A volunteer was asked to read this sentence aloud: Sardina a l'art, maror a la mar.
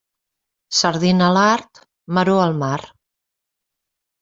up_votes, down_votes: 1, 2